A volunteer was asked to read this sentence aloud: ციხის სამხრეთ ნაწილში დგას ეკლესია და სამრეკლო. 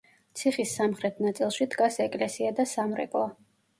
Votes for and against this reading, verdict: 1, 2, rejected